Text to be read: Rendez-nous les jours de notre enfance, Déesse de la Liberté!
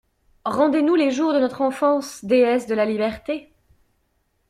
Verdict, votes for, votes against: accepted, 2, 0